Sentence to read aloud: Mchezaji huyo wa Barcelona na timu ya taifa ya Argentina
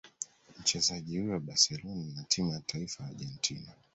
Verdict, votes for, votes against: accepted, 2, 1